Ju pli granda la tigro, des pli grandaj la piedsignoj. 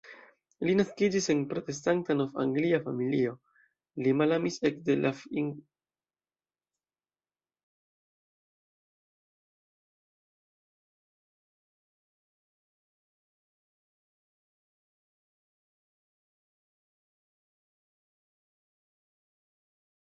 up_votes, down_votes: 0, 2